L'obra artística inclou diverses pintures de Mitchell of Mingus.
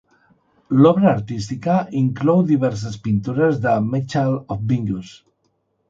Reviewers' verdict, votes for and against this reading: rejected, 1, 2